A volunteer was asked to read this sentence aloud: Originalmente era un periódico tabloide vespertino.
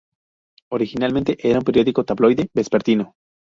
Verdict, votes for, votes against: accepted, 2, 0